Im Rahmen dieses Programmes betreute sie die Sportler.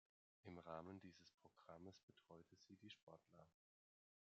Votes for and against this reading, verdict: 0, 2, rejected